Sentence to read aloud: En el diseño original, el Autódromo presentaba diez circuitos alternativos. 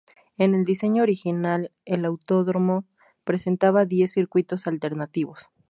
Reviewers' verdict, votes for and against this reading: rejected, 2, 2